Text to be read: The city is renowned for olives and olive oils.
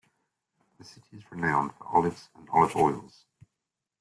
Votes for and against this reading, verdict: 0, 2, rejected